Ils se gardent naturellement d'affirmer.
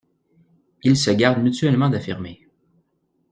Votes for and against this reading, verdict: 1, 3, rejected